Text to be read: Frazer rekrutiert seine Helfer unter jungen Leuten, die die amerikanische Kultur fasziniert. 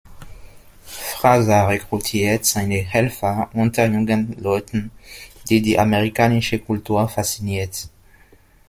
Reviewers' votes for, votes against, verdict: 1, 2, rejected